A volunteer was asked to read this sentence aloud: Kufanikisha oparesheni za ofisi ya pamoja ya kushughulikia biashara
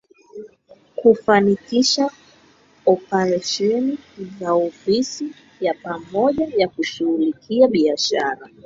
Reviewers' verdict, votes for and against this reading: rejected, 8, 9